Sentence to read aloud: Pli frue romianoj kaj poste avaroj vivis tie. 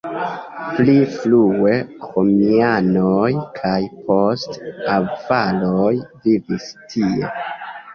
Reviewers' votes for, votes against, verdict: 0, 2, rejected